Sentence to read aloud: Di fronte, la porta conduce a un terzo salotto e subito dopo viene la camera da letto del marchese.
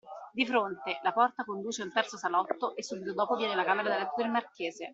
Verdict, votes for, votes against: rejected, 1, 2